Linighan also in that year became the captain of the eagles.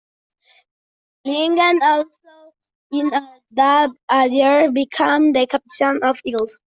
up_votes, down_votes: 0, 2